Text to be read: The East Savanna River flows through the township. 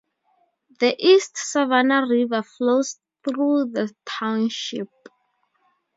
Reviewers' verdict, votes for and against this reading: accepted, 4, 0